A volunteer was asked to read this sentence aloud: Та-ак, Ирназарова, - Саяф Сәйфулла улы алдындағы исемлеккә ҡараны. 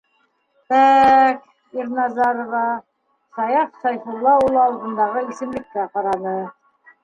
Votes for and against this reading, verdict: 0, 2, rejected